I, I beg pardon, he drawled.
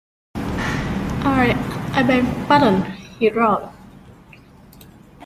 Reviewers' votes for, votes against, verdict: 1, 2, rejected